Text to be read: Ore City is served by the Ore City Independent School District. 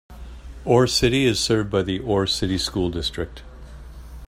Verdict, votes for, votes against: rejected, 1, 2